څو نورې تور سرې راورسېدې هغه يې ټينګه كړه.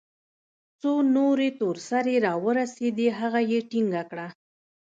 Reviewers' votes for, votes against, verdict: 0, 2, rejected